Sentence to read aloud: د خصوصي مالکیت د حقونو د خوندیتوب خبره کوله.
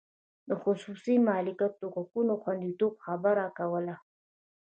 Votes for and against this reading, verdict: 1, 2, rejected